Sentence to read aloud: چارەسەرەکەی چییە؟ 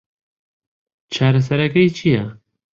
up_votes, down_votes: 2, 0